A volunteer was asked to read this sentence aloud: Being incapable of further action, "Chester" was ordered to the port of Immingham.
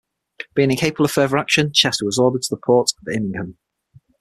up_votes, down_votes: 0, 6